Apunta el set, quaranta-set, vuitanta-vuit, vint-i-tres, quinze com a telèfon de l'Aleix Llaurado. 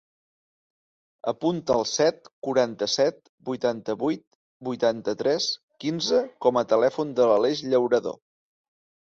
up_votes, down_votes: 2, 1